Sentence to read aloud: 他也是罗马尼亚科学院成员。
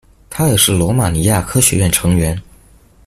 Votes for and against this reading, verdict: 2, 0, accepted